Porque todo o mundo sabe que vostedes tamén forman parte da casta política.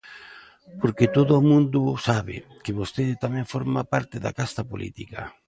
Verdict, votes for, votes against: rejected, 0, 2